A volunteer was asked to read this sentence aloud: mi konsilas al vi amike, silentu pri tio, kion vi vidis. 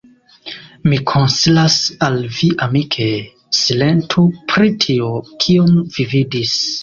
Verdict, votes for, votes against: rejected, 0, 2